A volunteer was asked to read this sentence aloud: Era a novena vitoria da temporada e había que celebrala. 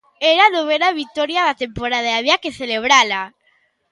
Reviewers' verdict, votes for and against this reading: accepted, 2, 0